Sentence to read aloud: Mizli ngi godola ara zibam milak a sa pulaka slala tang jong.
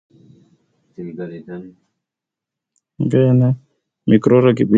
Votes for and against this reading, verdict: 0, 2, rejected